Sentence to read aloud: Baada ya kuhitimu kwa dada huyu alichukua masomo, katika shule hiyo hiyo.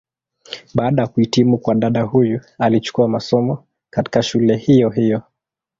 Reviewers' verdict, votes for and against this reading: rejected, 1, 2